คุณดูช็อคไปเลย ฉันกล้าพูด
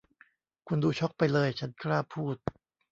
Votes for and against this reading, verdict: 2, 0, accepted